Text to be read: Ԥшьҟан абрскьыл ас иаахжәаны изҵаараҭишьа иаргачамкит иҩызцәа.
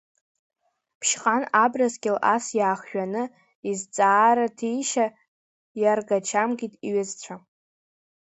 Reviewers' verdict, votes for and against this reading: rejected, 0, 2